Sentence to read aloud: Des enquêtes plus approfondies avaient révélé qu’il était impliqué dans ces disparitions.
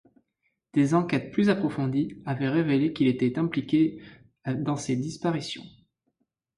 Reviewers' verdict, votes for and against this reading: accepted, 2, 0